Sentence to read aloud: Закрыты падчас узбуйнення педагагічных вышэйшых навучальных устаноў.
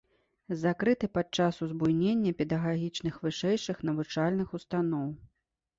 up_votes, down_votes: 2, 0